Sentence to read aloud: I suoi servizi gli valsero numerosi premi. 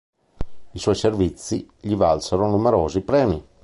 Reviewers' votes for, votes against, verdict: 2, 0, accepted